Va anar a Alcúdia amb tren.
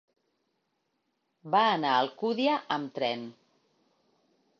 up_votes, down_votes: 3, 0